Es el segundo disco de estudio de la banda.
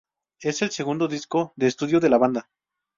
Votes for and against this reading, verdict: 2, 0, accepted